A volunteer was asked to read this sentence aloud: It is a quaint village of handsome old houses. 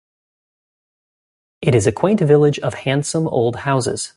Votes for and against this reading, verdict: 2, 0, accepted